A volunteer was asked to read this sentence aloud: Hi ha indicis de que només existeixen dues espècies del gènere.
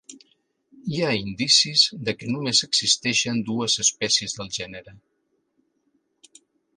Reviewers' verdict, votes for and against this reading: accepted, 3, 0